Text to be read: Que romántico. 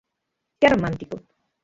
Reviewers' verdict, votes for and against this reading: rejected, 0, 6